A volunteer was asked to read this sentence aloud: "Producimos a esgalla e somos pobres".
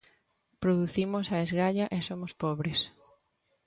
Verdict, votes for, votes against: accepted, 2, 0